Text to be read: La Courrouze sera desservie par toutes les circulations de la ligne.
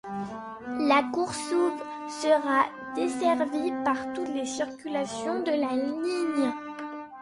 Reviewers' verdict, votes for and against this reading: rejected, 0, 2